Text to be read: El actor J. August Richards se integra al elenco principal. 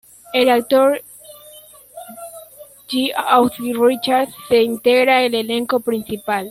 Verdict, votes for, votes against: rejected, 0, 2